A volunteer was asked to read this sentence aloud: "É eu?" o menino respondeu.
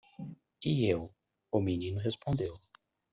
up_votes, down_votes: 0, 2